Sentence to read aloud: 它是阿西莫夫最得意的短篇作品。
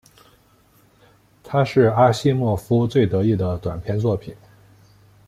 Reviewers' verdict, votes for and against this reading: accepted, 2, 0